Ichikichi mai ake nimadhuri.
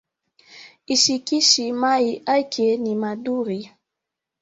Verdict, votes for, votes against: rejected, 0, 2